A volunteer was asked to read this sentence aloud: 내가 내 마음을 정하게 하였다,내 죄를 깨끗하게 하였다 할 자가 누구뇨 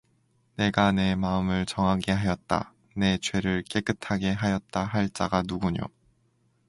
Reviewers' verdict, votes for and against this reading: accepted, 2, 0